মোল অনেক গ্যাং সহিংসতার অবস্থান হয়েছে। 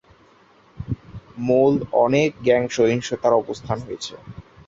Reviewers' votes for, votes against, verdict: 0, 2, rejected